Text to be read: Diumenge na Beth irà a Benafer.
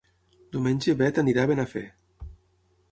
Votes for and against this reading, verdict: 3, 6, rejected